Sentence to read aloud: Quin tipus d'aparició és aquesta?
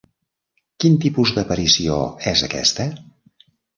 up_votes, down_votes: 3, 0